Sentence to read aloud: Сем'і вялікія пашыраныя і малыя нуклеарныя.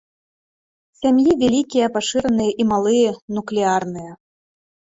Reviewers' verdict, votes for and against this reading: rejected, 0, 2